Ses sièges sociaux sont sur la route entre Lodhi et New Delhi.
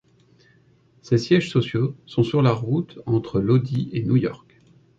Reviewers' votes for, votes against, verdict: 1, 2, rejected